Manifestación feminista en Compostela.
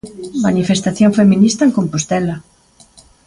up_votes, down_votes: 2, 0